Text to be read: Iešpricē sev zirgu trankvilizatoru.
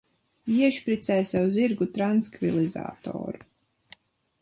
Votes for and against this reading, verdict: 0, 2, rejected